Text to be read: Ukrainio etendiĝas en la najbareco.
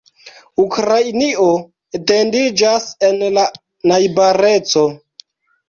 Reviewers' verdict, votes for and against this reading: accepted, 2, 0